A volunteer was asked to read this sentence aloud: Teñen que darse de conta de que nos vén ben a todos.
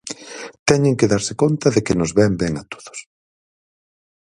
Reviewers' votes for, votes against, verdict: 0, 4, rejected